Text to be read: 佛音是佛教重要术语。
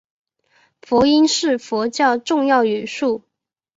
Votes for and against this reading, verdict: 1, 2, rejected